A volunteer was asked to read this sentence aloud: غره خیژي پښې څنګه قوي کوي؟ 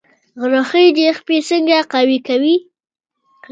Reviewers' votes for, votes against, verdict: 2, 1, accepted